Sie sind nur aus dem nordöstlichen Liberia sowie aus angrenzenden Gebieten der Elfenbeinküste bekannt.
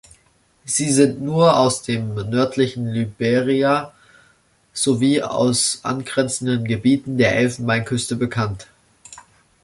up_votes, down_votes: 0, 2